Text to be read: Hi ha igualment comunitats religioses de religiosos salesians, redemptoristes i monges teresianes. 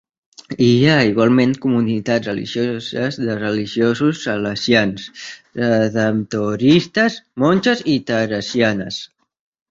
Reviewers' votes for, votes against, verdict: 0, 2, rejected